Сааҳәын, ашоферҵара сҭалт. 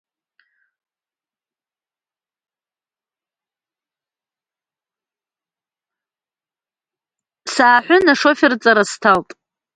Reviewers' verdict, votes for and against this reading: rejected, 0, 2